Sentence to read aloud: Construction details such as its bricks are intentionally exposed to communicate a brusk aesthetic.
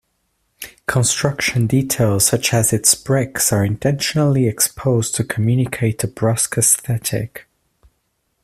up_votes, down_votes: 2, 0